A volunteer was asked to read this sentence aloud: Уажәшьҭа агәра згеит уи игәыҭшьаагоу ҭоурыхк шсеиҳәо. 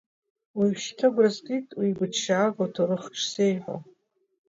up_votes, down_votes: 2, 0